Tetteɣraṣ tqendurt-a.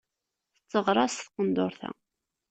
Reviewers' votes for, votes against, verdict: 0, 2, rejected